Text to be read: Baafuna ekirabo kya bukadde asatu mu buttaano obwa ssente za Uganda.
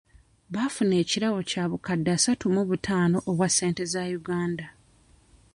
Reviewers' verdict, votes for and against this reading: accepted, 2, 0